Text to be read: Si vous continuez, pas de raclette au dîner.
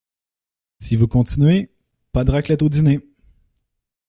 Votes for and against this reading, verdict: 2, 0, accepted